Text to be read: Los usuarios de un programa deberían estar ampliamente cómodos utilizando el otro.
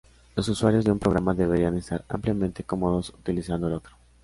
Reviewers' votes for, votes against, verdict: 2, 0, accepted